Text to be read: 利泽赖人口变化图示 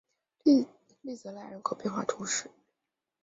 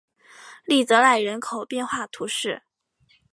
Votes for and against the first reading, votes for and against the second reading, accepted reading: 0, 3, 5, 0, second